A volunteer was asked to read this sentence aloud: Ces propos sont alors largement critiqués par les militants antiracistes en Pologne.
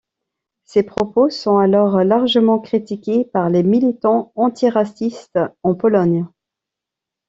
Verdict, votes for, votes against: accepted, 2, 0